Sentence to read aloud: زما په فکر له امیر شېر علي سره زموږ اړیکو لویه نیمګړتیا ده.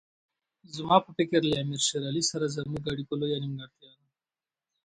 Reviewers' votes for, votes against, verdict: 2, 0, accepted